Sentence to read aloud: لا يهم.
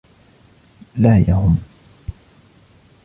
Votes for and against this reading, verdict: 2, 0, accepted